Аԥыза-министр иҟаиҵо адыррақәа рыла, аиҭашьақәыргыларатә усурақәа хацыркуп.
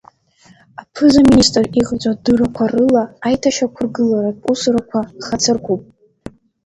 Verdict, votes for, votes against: accepted, 3, 2